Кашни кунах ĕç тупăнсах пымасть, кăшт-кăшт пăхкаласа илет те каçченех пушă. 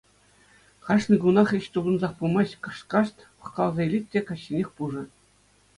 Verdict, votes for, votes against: accepted, 2, 0